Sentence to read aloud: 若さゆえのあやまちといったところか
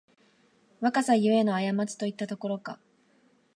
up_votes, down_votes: 4, 1